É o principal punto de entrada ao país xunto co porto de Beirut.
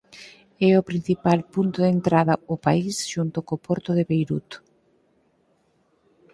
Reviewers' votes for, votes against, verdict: 4, 0, accepted